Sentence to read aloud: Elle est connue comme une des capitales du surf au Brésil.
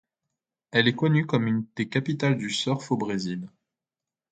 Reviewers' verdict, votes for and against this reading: accepted, 2, 0